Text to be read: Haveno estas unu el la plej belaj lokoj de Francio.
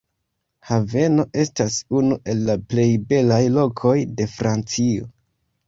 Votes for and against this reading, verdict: 2, 0, accepted